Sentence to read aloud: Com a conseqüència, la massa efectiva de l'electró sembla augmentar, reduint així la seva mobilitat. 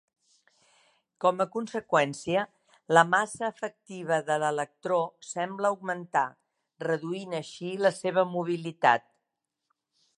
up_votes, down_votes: 2, 0